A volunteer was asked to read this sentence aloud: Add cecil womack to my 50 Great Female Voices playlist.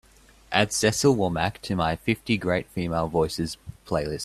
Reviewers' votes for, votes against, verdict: 0, 2, rejected